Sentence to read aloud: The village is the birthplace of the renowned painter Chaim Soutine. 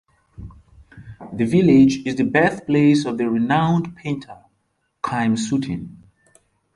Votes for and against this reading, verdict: 1, 2, rejected